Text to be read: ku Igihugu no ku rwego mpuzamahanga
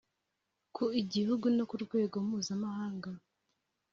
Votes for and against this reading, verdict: 3, 0, accepted